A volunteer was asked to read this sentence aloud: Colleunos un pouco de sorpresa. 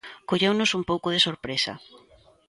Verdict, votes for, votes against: accepted, 2, 0